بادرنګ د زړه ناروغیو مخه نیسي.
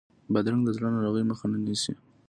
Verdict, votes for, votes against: accepted, 2, 0